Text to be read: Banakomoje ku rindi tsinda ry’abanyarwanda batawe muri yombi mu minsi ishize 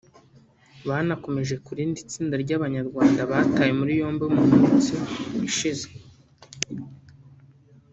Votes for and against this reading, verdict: 0, 2, rejected